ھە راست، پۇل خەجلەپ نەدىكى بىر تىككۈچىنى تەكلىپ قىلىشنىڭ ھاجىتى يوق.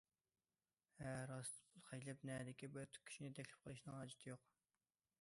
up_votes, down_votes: 0, 2